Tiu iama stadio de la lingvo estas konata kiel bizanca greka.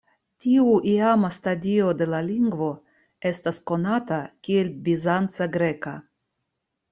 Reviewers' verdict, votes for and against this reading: accepted, 2, 0